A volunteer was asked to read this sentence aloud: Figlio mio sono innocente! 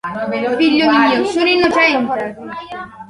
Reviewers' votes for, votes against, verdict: 2, 1, accepted